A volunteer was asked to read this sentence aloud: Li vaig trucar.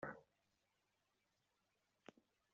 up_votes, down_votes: 0, 2